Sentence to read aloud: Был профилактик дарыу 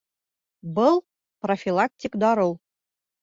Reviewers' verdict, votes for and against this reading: accepted, 2, 0